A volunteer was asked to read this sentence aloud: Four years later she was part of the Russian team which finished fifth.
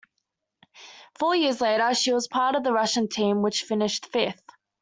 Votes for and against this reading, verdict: 2, 0, accepted